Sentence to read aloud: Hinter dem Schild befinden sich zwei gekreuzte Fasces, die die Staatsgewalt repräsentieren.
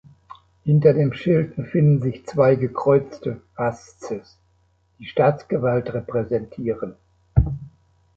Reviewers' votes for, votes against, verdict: 0, 2, rejected